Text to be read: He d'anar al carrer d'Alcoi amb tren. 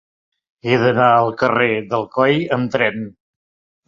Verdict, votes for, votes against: accepted, 2, 0